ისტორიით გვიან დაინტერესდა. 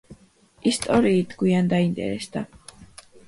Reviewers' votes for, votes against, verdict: 2, 0, accepted